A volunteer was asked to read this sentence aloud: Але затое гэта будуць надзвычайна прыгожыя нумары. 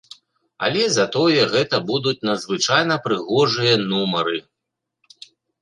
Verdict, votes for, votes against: rejected, 1, 2